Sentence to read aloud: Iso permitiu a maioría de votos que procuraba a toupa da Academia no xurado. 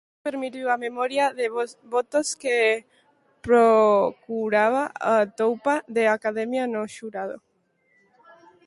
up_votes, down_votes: 0, 2